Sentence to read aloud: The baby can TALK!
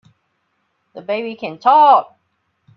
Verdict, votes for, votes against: accepted, 3, 0